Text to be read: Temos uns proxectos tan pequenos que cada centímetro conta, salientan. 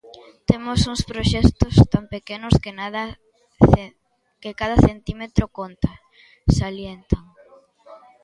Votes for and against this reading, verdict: 0, 2, rejected